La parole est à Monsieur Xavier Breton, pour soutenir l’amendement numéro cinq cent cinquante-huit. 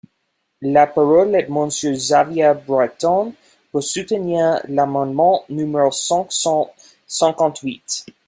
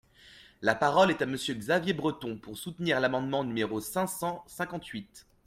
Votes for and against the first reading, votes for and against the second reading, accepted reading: 0, 2, 2, 0, second